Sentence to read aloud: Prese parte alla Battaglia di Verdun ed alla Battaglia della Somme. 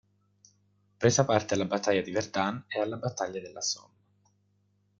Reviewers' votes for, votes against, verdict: 1, 2, rejected